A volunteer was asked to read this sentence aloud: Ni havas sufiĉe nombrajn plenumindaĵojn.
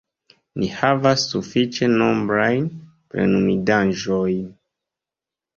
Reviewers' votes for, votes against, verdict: 2, 0, accepted